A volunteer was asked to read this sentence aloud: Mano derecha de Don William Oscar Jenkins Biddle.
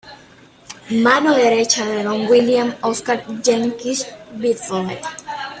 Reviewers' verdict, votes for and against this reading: rejected, 0, 2